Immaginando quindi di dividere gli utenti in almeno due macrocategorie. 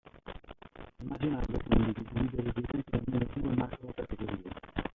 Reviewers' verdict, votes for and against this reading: rejected, 0, 2